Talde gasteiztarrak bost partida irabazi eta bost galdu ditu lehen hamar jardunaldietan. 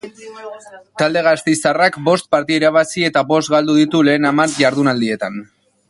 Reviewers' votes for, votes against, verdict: 2, 0, accepted